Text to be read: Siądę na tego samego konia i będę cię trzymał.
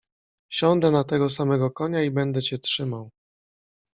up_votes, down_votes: 2, 0